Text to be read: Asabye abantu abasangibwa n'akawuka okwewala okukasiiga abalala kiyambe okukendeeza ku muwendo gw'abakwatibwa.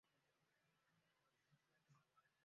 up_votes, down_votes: 0, 2